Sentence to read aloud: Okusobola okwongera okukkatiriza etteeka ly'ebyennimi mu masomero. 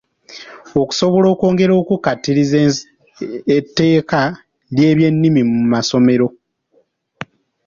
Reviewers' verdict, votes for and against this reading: rejected, 1, 2